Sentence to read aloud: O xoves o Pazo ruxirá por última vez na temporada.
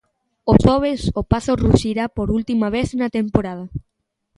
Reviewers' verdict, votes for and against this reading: accepted, 2, 0